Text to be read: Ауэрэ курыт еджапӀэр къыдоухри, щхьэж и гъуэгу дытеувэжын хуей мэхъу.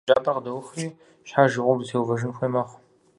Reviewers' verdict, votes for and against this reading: rejected, 0, 4